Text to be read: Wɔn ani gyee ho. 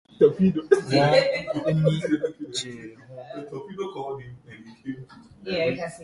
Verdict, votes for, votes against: rejected, 0, 2